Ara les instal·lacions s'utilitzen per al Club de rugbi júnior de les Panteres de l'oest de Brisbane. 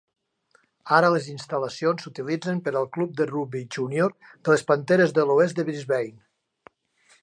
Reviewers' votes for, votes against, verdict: 2, 0, accepted